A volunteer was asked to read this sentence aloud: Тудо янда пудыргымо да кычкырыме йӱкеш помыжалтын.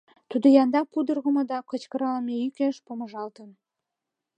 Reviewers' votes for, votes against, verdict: 1, 2, rejected